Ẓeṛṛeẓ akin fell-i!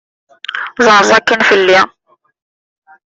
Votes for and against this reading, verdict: 1, 2, rejected